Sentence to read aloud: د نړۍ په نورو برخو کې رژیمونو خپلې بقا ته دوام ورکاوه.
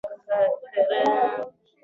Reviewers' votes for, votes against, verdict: 2, 0, accepted